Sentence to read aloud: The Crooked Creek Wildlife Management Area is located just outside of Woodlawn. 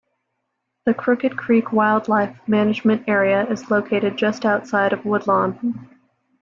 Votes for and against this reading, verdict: 2, 0, accepted